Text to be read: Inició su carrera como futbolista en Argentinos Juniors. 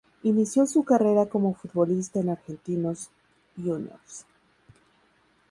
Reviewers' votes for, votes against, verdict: 4, 0, accepted